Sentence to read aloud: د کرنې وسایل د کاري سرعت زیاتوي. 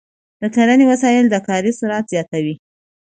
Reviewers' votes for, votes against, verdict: 2, 0, accepted